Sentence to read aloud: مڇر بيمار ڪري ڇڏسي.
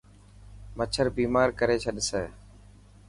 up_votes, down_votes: 4, 0